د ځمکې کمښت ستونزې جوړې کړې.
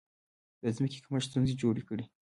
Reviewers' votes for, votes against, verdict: 2, 0, accepted